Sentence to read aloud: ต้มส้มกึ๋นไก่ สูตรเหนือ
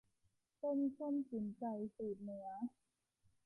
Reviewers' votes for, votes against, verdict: 2, 0, accepted